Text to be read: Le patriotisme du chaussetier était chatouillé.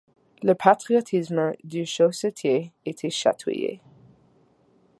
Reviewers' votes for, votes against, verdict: 2, 0, accepted